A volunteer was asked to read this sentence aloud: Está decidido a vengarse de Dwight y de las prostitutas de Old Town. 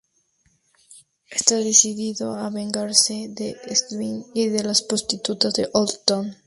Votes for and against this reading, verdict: 0, 2, rejected